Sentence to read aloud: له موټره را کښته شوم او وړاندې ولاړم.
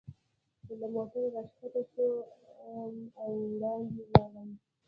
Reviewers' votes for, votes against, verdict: 1, 2, rejected